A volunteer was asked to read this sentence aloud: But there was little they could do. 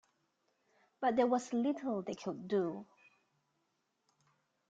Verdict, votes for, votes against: rejected, 1, 2